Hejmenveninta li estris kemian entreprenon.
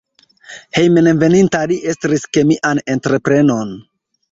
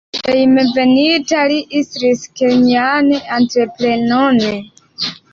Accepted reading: first